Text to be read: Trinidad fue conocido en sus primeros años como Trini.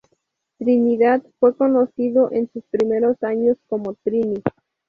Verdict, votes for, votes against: accepted, 2, 0